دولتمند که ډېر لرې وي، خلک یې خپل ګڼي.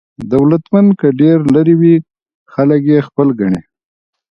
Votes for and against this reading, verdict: 1, 2, rejected